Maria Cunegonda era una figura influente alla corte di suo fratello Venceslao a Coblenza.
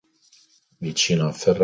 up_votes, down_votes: 0, 2